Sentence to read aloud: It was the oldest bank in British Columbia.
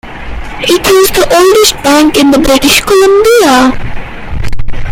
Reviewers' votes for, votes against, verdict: 0, 2, rejected